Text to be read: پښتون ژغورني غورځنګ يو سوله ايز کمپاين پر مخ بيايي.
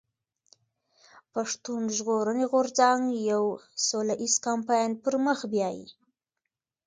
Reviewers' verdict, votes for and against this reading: accepted, 2, 1